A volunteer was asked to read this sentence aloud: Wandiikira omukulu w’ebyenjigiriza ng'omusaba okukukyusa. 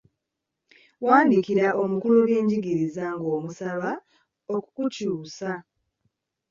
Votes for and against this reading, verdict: 0, 2, rejected